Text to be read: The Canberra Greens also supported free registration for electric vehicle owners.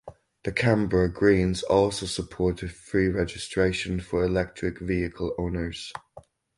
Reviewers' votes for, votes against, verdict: 4, 0, accepted